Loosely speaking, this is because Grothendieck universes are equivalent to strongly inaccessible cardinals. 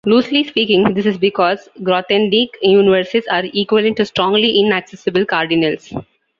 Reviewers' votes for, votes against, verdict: 0, 2, rejected